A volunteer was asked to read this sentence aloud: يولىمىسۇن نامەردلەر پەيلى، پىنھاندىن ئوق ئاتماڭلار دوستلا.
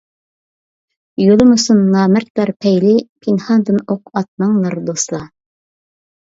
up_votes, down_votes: 2, 0